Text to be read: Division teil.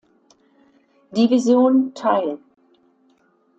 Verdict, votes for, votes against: accepted, 2, 0